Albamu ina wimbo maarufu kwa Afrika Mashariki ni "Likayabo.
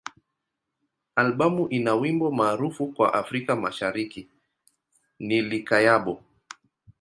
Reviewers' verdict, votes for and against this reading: accepted, 2, 0